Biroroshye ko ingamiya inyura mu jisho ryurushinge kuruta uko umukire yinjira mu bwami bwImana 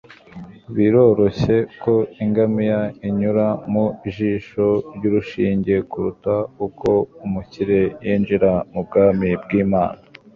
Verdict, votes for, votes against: rejected, 1, 2